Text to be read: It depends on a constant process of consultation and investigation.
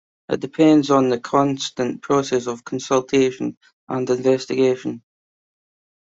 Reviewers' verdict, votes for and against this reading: accepted, 2, 0